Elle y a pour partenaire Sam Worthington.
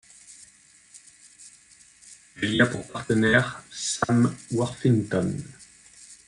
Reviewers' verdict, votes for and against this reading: rejected, 1, 2